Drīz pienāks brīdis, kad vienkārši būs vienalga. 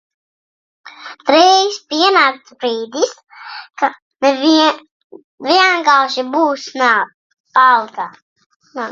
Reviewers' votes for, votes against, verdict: 0, 2, rejected